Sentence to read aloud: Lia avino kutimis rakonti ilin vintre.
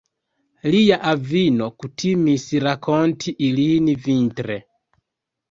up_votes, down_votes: 1, 2